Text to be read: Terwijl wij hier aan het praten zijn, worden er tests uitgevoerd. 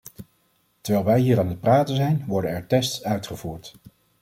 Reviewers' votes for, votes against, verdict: 2, 0, accepted